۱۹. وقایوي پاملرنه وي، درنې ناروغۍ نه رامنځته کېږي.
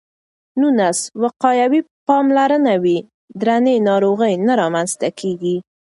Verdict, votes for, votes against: rejected, 0, 2